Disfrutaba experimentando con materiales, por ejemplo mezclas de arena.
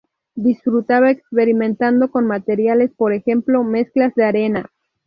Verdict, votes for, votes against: accepted, 2, 0